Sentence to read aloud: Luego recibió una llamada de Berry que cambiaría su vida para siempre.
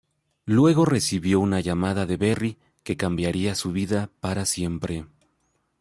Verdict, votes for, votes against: accepted, 3, 0